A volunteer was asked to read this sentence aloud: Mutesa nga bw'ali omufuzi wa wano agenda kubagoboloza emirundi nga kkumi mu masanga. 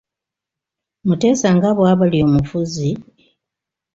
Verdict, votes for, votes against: rejected, 1, 2